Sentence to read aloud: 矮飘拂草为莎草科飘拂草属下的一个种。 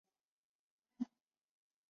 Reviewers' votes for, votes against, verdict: 3, 4, rejected